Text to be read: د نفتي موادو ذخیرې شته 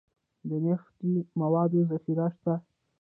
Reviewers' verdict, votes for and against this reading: accepted, 2, 0